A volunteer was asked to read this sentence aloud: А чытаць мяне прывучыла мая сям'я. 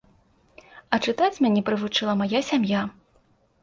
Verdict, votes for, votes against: accepted, 2, 0